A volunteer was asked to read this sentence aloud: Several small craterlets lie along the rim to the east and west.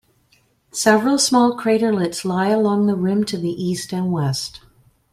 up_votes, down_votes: 2, 0